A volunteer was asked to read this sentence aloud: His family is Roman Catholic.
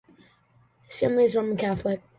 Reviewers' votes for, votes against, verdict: 2, 1, accepted